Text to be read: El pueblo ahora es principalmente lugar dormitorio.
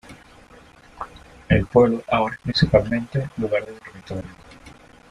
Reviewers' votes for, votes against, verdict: 2, 0, accepted